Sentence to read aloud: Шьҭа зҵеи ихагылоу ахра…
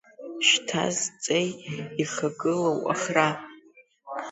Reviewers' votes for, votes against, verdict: 1, 2, rejected